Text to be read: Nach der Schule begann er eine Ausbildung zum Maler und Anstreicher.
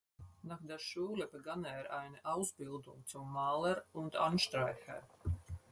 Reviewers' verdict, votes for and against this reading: accepted, 4, 2